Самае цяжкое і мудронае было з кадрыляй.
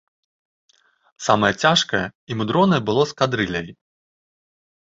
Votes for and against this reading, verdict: 1, 2, rejected